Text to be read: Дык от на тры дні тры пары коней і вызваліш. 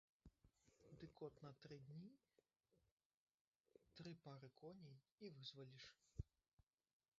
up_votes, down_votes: 1, 2